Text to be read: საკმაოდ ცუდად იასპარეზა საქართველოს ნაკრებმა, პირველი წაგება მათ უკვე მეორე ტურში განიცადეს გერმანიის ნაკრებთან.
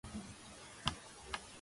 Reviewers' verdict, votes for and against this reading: rejected, 0, 2